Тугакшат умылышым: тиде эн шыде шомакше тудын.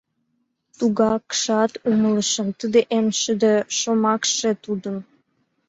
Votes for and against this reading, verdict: 2, 0, accepted